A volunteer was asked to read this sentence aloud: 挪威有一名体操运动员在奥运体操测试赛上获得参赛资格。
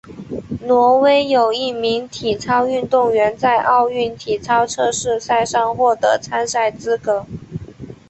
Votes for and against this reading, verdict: 3, 1, accepted